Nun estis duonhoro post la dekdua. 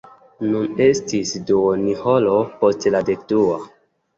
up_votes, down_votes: 2, 1